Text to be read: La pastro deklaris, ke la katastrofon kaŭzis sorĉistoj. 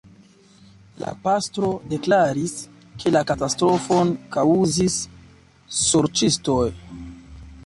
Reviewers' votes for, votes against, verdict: 2, 0, accepted